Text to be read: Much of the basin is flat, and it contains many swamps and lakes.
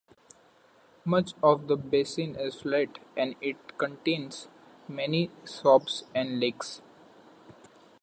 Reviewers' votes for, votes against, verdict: 2, 1, accepted